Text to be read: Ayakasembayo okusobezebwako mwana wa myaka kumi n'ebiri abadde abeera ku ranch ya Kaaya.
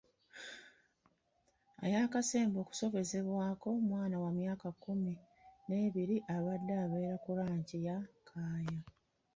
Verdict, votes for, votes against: rejected, 0, 2